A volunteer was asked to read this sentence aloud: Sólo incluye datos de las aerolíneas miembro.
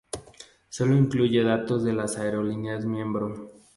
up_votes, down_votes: 2, 0